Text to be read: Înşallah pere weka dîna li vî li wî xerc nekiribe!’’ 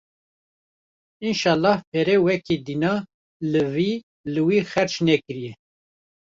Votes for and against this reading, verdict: 1, 2, rejected